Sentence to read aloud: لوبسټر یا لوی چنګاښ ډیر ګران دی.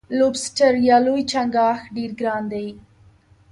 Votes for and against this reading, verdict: 1, 2, rejected